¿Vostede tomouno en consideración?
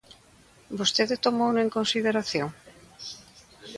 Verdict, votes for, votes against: accepted, 2, 0